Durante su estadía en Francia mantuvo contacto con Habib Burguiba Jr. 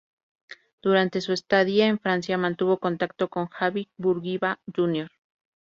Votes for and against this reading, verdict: 0, 2, rejected